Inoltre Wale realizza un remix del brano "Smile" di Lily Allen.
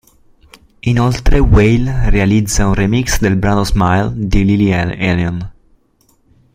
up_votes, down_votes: 0, 2